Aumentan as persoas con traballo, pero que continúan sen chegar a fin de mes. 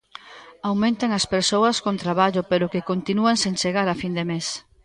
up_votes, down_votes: 2, 0